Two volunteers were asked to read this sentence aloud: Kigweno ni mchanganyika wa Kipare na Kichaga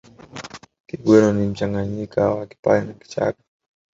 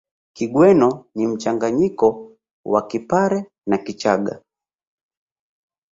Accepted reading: second